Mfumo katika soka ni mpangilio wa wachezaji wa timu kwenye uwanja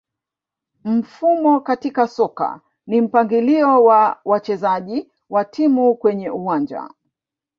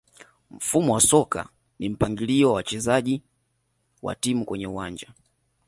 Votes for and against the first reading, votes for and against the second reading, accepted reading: 2, 0, 1, 2, first